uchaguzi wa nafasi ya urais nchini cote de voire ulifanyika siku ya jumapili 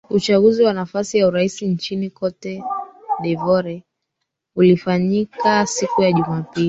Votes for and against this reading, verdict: 1, 2, rejected